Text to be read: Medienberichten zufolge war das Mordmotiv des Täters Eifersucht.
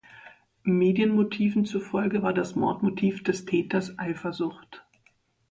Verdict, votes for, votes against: rejected, 1, 2